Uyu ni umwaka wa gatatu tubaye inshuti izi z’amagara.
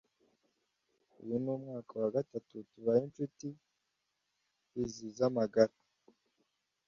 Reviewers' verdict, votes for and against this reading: accepted, 2, 0